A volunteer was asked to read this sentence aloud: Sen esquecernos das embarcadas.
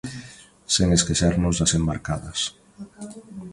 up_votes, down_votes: 2, 0